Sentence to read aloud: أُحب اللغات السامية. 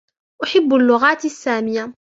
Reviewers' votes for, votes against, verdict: 2, 1, accepted